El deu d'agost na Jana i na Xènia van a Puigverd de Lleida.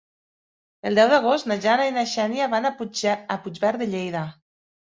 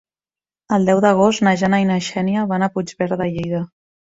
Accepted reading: second